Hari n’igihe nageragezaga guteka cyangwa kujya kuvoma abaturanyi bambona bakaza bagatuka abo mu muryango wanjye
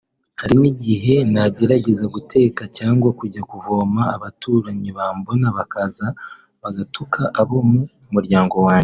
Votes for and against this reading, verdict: 0, 2, rejected